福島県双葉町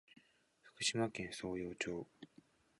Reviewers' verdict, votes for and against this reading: rejected, 1, 3